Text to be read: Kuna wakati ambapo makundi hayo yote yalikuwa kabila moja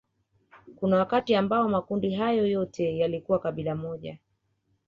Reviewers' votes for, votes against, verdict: 1, 2, rejected